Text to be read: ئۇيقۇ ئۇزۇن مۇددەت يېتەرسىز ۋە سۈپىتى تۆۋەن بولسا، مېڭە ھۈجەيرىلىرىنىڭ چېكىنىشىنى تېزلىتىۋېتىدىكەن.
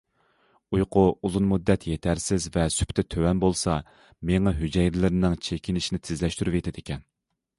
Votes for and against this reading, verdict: 0, 2, rejected